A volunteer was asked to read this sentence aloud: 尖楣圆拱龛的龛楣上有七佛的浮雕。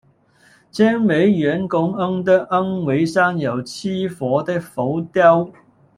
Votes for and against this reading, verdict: 1, 2, rejected